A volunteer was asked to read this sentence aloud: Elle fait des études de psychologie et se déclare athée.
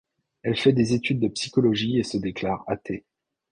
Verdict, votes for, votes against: accepted, 2, 0